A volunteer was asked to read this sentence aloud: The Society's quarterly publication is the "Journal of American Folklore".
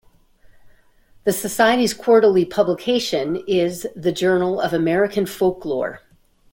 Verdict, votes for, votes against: accepted, 3, 0